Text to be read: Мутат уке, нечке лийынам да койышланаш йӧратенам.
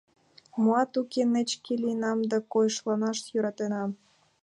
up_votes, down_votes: 0, 2